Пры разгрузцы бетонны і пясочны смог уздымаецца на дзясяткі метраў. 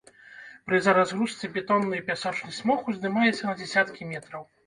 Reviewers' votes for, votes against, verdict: 2, 3, rejected